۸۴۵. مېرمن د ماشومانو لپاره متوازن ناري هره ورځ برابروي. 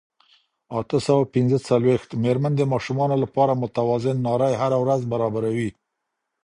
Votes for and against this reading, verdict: 0, 2, rejected